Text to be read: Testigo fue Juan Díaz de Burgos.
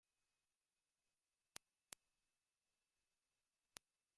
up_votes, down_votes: 0, 2